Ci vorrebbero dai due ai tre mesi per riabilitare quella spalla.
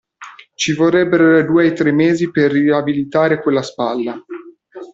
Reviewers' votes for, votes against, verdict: 0, 2, rejected